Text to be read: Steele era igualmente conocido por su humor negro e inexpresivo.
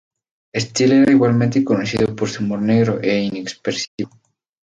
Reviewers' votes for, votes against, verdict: 0, 2, rejected